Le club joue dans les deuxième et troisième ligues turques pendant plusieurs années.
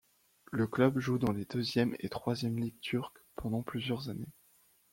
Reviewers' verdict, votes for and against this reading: accepted, 2, 0